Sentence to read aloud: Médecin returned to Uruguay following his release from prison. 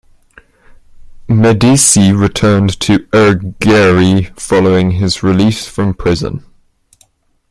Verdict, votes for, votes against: rejected, 0, 2